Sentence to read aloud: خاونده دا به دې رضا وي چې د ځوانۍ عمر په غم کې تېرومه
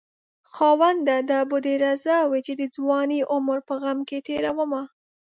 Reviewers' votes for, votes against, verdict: 2, 0, accepted